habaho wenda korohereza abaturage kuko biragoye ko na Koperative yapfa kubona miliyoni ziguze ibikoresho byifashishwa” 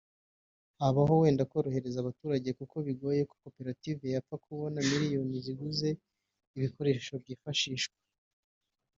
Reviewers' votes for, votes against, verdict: 0, 2, rejected